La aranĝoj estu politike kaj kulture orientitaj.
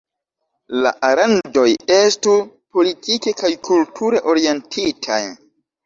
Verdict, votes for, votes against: rejected, 1, 2